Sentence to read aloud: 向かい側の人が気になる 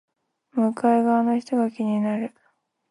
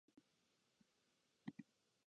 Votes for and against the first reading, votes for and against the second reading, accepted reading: 2, 0, 0, 2, first